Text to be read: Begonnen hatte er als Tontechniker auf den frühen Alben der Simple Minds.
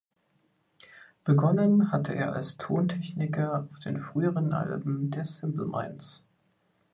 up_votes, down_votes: 1, 2